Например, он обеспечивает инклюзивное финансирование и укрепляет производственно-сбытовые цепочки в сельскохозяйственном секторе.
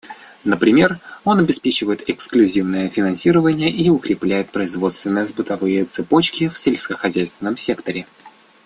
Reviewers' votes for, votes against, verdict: 1, 2, rejected